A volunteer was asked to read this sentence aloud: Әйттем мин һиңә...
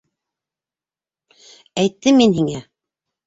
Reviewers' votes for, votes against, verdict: 2, 1, accepted